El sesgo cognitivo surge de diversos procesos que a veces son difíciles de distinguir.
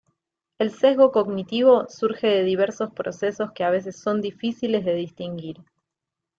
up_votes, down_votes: 2, 0